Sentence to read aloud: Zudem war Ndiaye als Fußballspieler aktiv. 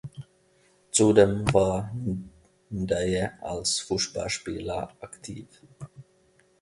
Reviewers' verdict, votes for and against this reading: rejected, 0, 2